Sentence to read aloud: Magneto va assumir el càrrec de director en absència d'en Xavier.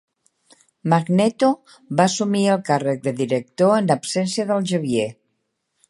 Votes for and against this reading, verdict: 0, 2, rejected